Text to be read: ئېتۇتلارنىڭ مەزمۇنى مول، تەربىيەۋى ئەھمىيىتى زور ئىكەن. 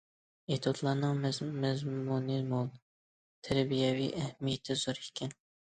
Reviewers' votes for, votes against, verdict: 0, 2, rejected